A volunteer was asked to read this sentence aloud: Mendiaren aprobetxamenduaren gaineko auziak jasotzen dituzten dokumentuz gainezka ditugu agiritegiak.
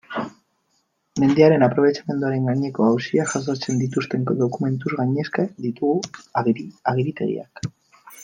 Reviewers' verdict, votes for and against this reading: rejected, 1, 2